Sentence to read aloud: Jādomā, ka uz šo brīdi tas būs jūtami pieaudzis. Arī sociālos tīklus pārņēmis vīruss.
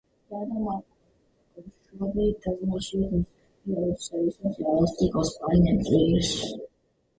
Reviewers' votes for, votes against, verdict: 0, 2, rejected